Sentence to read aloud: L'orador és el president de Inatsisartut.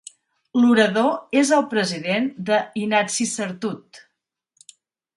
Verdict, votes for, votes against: accepted, 3, 0